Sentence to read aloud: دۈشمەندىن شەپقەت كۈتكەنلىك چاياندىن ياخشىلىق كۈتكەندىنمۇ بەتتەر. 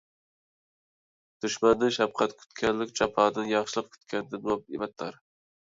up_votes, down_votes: 0, 2